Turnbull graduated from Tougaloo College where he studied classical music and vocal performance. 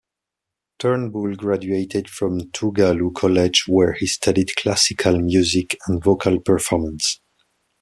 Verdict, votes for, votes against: accepted, 2, 0